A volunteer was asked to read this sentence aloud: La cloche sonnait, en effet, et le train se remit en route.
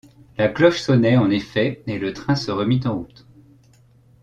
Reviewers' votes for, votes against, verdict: 2, 0, accepted